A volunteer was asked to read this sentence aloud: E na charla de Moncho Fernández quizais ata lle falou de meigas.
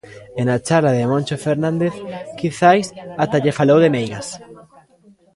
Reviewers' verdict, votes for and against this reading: rejected, 0, 2